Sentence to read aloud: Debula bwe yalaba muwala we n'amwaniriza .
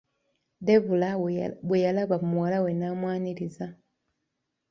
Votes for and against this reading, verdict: 2, 1, accepted